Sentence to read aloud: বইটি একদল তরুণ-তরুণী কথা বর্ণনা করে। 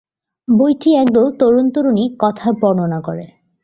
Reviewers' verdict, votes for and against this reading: rejected, 1, 2